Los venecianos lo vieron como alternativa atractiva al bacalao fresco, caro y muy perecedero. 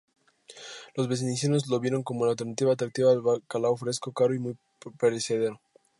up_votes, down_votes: 0, 2